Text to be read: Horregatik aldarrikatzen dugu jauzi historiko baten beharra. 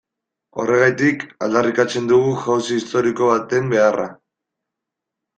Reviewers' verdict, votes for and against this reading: accepted, 2, 0